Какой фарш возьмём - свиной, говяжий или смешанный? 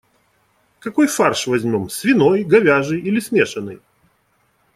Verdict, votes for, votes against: accepted, 2, 0